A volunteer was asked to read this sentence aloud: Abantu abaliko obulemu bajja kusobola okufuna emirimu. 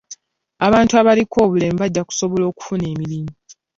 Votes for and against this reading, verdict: 2, 0, accepted